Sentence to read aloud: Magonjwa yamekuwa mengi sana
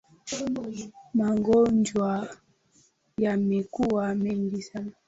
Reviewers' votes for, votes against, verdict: 2, 1, accepted